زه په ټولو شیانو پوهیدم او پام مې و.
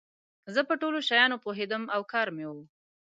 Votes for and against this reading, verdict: 0, 2, rejected